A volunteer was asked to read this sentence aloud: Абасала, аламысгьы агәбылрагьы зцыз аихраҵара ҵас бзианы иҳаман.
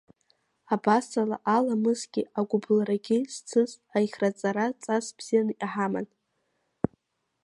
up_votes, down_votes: 1, 2